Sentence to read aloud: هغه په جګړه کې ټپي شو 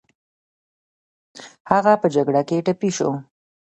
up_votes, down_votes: 0, 2